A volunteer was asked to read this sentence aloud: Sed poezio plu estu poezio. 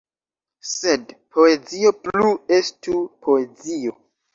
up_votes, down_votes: 2, 0